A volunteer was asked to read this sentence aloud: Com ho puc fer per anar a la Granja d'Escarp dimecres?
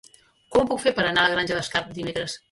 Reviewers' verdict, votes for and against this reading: accepted, 3, 0